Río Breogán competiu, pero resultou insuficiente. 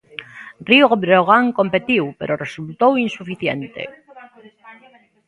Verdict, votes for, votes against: rejected, 0, 2